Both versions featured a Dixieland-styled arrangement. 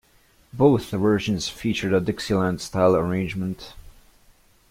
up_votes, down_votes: 0, 2